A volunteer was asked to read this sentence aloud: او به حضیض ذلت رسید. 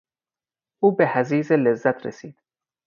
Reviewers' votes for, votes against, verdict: 0, 4, rejected